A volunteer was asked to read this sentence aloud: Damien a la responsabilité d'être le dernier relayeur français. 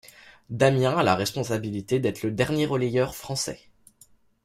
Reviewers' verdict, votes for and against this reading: accepted, 2, 0